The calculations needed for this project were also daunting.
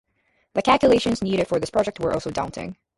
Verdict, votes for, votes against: accepted, 4, 0